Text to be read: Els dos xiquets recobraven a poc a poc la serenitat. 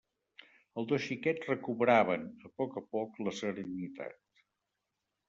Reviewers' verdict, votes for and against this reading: rejected, 2, 3